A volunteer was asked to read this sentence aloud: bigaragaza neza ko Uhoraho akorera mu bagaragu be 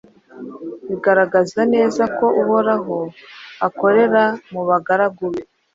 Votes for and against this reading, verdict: 2, 0, accepted